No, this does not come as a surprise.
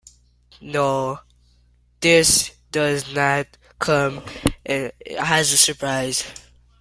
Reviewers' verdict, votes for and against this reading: rejected, 1, 2